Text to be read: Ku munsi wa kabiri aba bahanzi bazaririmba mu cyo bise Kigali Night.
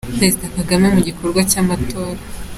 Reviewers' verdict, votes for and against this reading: rejected, 1, 2